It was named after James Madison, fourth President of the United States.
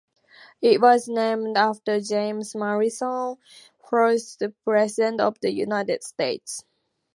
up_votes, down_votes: 2, 0